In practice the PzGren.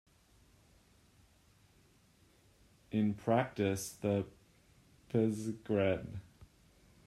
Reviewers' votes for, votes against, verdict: 0, 2, rejected